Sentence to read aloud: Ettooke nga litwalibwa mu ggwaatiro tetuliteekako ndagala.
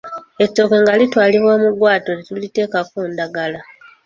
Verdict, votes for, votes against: rejected, 0, 2